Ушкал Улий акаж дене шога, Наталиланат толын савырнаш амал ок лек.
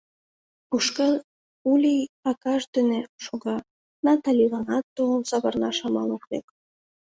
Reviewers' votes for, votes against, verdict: 2, 0, accepted